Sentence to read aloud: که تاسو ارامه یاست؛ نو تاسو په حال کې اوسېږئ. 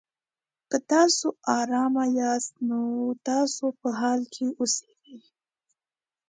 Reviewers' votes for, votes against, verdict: 2, 0, accepted